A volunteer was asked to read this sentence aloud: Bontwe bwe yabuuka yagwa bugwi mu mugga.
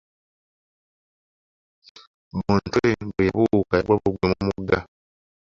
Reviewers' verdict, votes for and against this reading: rejected, 0, 2